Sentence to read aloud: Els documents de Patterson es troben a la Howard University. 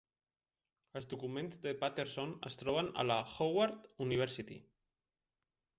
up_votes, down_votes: 1, 2